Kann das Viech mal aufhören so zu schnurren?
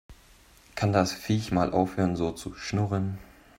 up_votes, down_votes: 3, 0